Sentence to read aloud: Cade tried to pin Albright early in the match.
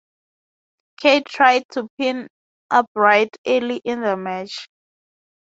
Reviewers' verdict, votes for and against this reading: accepted, 2, 0